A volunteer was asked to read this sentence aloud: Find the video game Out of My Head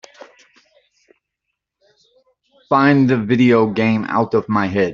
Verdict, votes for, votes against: accepted, 2, 0